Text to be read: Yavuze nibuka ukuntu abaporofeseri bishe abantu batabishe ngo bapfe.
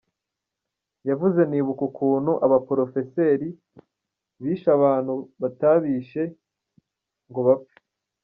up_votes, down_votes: 2, 0